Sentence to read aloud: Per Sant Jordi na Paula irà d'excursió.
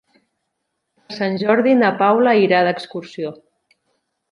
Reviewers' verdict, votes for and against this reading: rejected, 1, 2